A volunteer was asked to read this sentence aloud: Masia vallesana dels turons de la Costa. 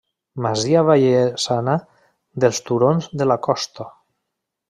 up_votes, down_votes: 2, 0